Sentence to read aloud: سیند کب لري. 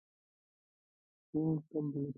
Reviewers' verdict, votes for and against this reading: rejected, 1, 2